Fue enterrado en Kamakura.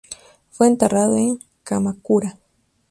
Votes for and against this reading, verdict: 2, 0, accepted